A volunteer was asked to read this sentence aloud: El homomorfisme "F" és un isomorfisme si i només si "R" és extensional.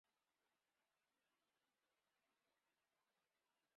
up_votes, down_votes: 0, 3